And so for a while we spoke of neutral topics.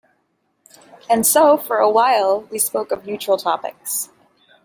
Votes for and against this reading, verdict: 2, 0, accepted